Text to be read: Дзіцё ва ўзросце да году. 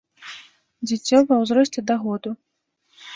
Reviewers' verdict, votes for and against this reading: rejected, 1, 2